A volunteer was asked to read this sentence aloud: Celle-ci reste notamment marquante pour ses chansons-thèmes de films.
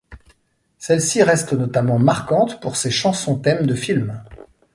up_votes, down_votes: 2, 0